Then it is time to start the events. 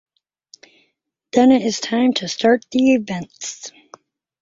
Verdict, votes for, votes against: accepted, 2, 0